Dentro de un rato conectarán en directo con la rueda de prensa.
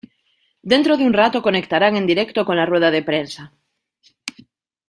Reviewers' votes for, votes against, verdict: 2, 0, accepted